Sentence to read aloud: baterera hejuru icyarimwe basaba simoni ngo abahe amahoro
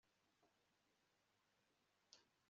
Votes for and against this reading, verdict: 1, 2, rejected